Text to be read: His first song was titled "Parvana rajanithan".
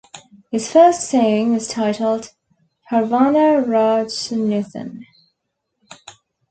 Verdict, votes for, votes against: rejected, 1, 2